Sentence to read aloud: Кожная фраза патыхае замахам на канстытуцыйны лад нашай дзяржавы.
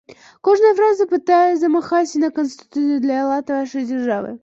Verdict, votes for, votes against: rejected, 0, 2